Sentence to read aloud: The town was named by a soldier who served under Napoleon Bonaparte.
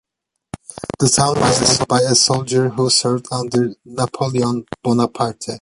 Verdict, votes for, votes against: accepted, 2, 0